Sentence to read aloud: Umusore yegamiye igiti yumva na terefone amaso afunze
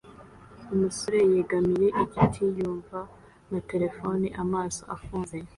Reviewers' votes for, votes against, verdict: 2, 0, accepted